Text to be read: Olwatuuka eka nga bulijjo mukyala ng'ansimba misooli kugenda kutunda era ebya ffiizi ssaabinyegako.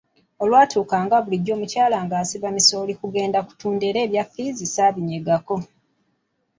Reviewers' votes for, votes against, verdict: 1, 2, rejected